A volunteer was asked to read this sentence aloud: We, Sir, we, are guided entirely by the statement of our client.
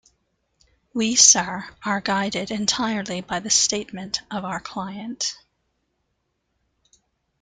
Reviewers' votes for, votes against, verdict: 0, 2, rejected